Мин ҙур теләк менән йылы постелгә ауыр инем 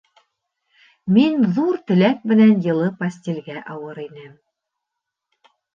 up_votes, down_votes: 2, 0